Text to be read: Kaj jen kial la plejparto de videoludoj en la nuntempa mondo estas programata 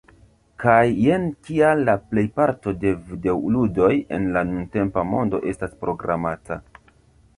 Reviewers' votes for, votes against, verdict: 1, 3, rejected